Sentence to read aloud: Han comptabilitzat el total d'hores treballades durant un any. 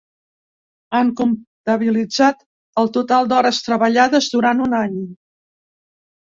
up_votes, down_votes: 2, 0